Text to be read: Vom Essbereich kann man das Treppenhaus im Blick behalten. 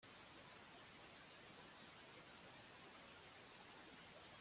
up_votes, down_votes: 0, 2